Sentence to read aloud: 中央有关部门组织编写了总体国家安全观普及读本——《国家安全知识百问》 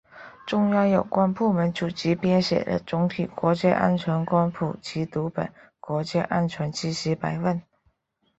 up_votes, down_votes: 2, 0